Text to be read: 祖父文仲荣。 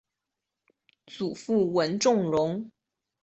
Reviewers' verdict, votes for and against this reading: accepted, 4, 0